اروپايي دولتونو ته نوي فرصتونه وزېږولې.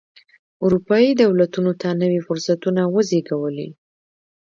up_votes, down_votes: 0, 2